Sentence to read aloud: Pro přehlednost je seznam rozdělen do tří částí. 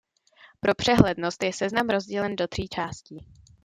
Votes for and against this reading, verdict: 2, 0, accepted